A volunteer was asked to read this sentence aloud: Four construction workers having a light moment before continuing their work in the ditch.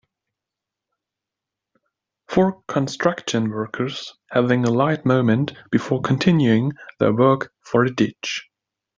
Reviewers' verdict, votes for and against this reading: rejected, 0, 2